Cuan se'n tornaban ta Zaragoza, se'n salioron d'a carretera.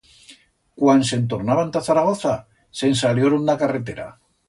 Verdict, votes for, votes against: accepted, 2, 0